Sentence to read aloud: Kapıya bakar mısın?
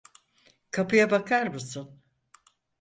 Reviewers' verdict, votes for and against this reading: accepted, 4, 0